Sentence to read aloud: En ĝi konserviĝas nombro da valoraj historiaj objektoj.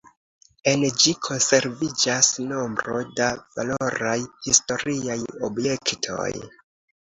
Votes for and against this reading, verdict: 2, 0, accepted